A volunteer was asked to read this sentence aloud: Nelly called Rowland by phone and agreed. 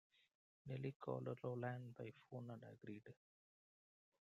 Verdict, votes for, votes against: rejected, 1, 2